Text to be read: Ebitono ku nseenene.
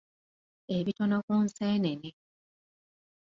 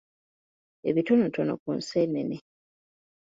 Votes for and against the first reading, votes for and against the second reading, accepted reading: 2, 0, 0, 2, first